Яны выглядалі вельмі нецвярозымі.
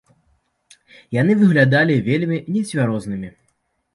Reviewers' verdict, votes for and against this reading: rejected, 1, 2